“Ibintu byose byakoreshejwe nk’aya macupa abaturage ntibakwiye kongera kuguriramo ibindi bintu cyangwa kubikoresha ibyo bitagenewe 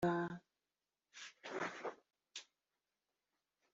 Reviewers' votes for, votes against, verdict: 1, 2, rejected